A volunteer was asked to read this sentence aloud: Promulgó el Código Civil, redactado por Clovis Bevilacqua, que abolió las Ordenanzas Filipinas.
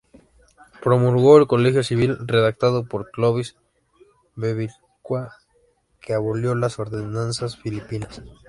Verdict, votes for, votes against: rejected, 0, 2